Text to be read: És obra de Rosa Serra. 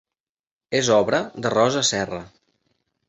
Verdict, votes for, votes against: accepted, 3, 0